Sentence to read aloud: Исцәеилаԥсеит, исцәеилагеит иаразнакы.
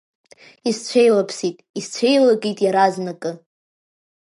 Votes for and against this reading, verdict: 1, 2, rejected